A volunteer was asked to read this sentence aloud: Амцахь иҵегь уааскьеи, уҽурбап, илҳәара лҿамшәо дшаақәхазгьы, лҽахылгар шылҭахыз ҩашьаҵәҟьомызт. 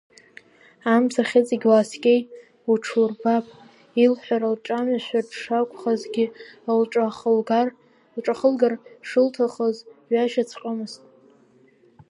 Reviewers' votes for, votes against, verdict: 1, 2, rejected